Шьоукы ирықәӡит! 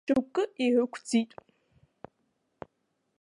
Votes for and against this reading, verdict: 3, 1, accepted